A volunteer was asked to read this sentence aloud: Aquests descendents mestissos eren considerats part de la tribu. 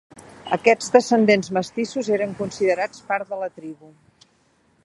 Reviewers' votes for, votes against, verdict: 3, 0, accepted